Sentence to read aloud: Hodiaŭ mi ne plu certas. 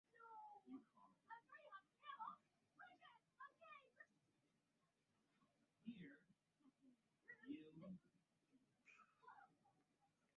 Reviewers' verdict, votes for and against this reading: rejected, 0, 2